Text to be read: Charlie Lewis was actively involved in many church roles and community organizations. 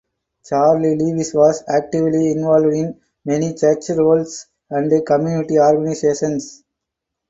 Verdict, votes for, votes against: rejected, 2, 4